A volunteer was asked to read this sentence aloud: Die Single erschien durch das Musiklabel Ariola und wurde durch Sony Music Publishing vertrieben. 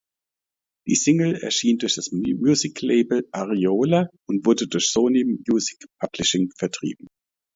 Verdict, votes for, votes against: rejected, 0, 2